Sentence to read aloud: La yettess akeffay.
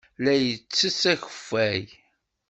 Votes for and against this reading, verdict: 2, 0, accepted